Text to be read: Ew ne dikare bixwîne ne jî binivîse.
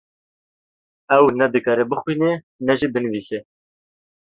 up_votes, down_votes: 1, 2